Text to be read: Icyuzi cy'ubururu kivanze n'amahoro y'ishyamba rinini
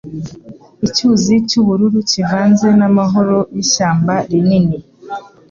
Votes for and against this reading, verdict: 2, 0, accepted